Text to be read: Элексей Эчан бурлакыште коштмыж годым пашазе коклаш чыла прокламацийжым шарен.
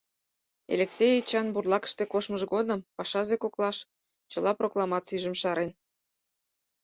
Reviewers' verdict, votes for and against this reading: accepted, 4, 0